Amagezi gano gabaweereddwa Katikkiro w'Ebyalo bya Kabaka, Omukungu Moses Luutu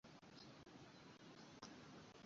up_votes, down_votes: 1, 2